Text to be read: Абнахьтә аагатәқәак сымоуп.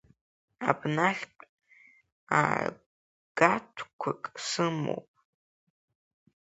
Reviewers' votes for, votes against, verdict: 0, 3, rejected